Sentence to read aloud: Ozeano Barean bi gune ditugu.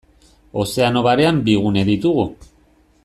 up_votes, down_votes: 2, 0